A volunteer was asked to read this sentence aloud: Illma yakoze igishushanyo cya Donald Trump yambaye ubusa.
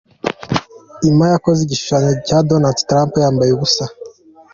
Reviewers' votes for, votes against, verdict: 2, 0, accepted